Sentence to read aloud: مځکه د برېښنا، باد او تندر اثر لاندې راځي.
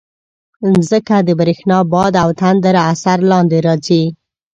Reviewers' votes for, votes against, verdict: 2, 0, accepted